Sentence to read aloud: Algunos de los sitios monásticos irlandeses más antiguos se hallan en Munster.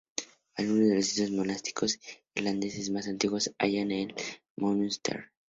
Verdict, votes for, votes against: rejected, 0, 2